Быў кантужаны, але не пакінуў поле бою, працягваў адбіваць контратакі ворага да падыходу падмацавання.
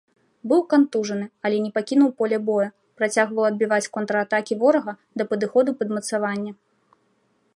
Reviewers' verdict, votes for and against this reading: accepted, 2, 0